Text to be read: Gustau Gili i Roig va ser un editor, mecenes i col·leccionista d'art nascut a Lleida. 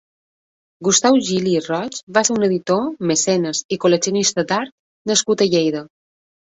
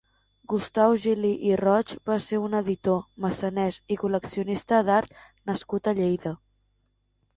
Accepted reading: first